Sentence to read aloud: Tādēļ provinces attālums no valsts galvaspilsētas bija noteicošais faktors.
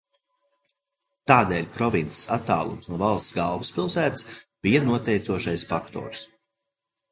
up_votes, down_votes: 2, 0